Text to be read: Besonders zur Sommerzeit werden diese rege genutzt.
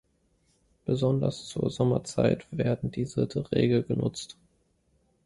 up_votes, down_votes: 0, 2